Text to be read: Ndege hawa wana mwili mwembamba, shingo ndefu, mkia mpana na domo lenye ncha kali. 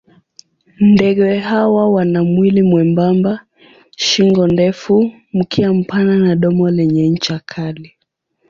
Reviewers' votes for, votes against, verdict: 2, 0, accepted